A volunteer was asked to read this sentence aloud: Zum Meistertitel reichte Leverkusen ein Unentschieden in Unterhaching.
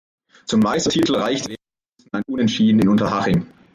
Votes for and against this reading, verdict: 0, 2, rejected